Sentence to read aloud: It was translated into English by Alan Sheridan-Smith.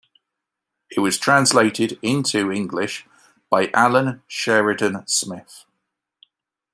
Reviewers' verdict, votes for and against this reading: accepted, 2, 1